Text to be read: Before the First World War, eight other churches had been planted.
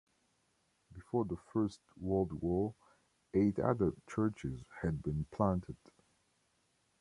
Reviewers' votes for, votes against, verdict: 1, 2, rejected